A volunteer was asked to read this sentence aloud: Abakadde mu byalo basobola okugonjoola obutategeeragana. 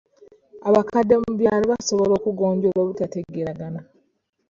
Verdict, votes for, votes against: accepted, 3, 0